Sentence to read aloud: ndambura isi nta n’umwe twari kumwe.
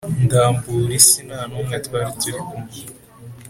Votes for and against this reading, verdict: 2, 0, accepted